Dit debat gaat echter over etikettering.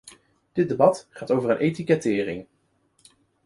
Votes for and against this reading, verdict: 1, 2, rejected